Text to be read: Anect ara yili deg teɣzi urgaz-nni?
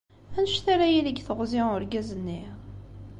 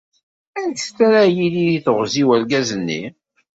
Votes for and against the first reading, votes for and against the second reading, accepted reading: 2, 0, 1, 2, first